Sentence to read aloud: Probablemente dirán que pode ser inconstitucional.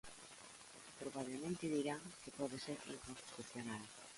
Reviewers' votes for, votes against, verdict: 0, 2, rejected